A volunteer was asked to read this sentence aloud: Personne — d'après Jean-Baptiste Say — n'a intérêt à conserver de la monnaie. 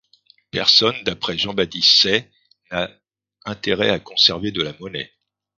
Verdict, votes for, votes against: rejected, 1, 2